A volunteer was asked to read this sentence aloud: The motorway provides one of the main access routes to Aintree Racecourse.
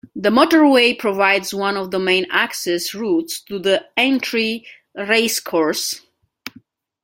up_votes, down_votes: 1, 2